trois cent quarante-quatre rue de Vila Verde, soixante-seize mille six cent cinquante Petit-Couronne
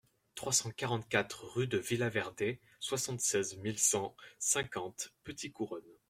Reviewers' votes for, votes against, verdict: 1, 2, rejected